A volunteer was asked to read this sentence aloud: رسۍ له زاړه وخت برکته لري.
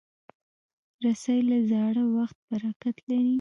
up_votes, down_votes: 0, 2